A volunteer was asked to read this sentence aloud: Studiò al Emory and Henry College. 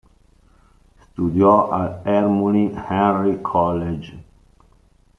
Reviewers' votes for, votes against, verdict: 0, 2, rejected